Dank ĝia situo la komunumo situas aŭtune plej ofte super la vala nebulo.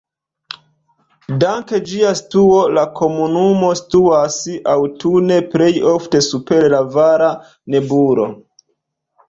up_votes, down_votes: 2, 0